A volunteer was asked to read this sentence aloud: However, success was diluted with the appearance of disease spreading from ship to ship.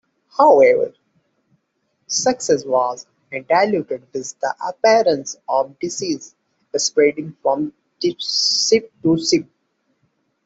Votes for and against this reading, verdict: 0, 2, rejected